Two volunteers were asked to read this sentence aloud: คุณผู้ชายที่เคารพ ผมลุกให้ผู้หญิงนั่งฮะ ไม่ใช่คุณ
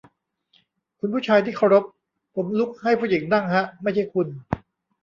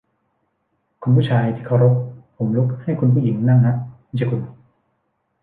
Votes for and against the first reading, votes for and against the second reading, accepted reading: 2, 0, 1, 2, first